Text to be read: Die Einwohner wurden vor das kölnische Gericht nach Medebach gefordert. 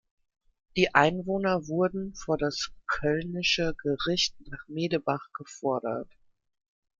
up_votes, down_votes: 2, 1